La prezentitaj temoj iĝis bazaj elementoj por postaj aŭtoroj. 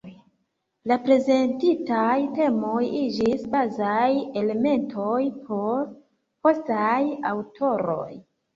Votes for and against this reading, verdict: 0, 2, rejected